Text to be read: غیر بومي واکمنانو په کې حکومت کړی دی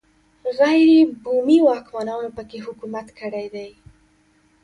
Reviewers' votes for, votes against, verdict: 2, 0, accepted